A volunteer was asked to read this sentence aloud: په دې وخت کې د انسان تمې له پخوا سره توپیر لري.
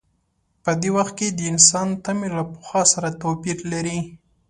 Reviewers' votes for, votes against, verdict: 2, 0, accepted